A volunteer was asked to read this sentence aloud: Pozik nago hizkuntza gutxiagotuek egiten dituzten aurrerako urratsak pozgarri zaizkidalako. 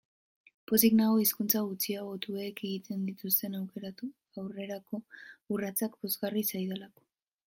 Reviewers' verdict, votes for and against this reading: rejected, 0, 2